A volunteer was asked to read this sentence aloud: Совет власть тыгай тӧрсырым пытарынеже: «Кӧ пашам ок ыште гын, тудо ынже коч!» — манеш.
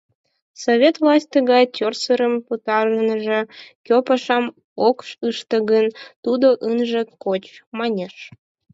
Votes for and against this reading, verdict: 2, 6, rejected